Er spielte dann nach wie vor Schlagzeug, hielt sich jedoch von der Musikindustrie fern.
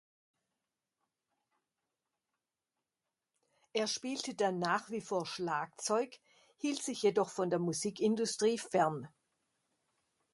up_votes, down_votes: 1, 2